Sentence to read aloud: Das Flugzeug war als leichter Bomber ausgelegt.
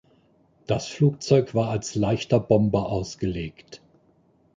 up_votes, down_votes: 2, 0